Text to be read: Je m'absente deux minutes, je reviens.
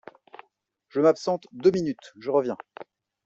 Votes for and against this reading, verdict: 2, 0, accepted